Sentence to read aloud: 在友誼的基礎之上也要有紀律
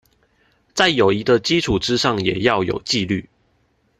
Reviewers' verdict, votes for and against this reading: accepted, 2, 0